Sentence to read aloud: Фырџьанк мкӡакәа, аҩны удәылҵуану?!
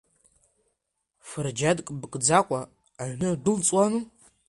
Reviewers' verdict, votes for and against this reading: accepted, 2, 1